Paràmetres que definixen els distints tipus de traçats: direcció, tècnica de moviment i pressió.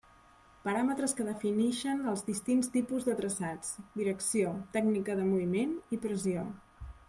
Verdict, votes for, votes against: rejected, 0, 2